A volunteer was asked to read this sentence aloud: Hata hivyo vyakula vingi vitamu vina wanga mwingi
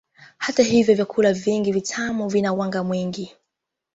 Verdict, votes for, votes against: rejected, 0, 2